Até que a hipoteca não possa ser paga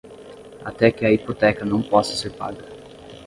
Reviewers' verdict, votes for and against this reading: accepted, 5, 0